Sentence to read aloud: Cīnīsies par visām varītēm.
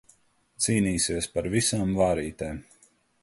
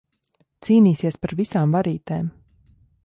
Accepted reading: second